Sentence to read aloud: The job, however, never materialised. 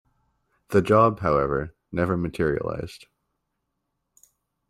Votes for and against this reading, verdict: 2, 0, accepted